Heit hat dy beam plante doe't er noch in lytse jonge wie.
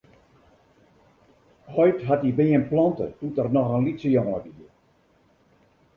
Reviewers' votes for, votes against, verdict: 2, 0, accepted